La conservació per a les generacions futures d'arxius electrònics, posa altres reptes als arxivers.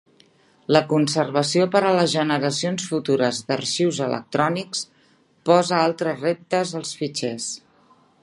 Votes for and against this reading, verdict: 0, 2, rejected